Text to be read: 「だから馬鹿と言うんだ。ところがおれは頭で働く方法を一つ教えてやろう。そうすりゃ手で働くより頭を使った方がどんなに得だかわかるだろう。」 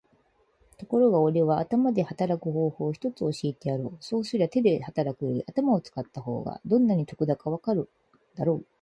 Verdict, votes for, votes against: rejected, 0, 4